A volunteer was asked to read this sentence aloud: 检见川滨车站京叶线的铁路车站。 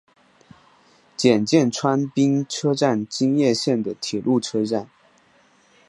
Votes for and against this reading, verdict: 2, 1, accepted